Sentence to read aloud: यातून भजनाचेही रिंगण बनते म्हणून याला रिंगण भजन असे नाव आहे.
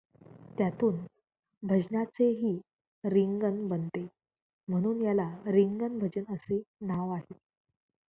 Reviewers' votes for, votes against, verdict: 1, 2, rejected